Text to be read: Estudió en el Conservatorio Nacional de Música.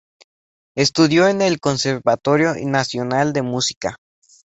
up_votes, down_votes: 4, 0